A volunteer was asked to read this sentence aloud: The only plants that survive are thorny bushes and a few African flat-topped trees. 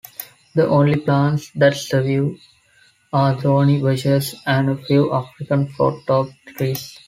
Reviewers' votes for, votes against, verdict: 0, 2, rejected